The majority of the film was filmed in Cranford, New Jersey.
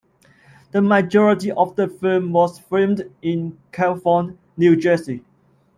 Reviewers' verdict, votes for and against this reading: rejected, 0, 2